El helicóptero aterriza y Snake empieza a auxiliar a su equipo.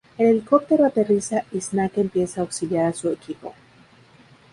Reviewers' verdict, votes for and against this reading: rejected, 0, 2